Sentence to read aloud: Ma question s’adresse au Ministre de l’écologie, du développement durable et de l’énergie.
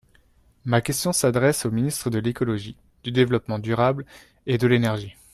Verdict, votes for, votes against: accepted, 2, 0